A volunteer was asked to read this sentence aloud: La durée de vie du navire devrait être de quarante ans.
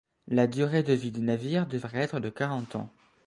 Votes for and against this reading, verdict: 0, 2, rejected